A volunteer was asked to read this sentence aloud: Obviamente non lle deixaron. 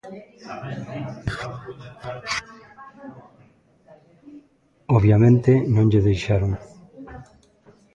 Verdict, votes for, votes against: rejected, 1, 2